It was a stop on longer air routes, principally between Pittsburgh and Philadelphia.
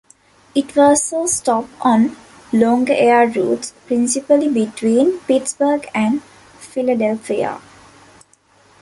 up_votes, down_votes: 2, 0